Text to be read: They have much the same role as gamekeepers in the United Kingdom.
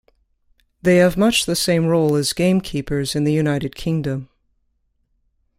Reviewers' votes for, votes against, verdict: 2, 0, accepted